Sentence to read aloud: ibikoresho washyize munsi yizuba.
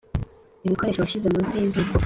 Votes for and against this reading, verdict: 2, 0, accepted